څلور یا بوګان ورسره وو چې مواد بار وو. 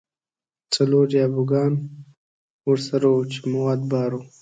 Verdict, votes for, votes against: accepted, 2, 0